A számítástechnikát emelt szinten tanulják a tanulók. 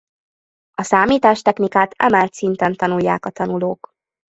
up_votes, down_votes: 2, 0